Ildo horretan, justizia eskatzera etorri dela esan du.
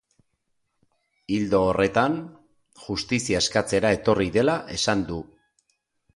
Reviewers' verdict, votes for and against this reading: accepted, 4, 0